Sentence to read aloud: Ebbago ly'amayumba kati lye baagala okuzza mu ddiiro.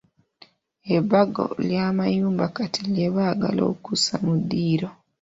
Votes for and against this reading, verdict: 2, 0, accepted